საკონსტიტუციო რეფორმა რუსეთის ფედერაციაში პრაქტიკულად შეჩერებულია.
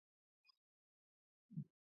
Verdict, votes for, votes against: rejected, 0, 2